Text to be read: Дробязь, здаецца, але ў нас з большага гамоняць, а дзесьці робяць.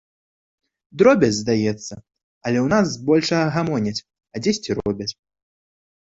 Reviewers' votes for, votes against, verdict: 2, 0, accepted